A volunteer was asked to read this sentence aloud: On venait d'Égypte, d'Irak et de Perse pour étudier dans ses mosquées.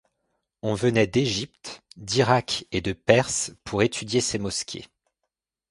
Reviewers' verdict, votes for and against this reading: rejected, 0, 2